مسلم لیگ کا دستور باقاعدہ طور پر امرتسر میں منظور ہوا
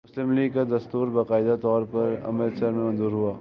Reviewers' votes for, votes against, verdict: 2, 0, accepted